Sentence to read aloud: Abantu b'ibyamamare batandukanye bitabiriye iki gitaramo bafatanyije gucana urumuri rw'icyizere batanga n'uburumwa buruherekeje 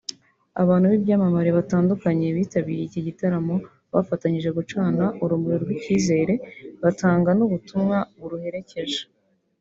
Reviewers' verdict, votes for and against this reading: rejected, 1, 2